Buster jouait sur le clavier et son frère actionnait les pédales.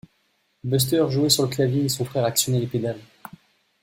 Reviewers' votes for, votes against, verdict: 2, 0, accepted